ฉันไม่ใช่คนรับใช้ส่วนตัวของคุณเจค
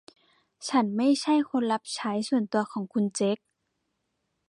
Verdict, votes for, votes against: accepted, 2, 0